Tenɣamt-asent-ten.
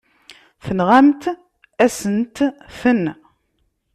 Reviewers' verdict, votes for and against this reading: rejected, 0, 3